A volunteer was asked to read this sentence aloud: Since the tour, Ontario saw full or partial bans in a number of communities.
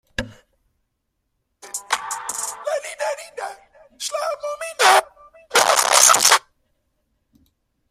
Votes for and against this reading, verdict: 0, 2, rejected